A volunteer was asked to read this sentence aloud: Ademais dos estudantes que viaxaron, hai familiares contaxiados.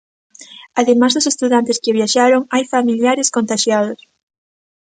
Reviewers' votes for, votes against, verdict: 2, 0, accepted